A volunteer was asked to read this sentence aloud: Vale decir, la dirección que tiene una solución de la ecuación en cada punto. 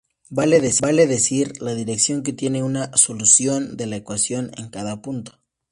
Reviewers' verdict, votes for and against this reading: rejected, 0, 2